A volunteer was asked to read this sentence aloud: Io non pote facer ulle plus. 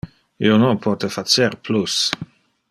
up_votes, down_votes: 0, 2